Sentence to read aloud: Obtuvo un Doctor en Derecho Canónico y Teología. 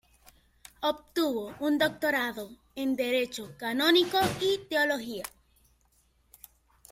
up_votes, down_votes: 1, 2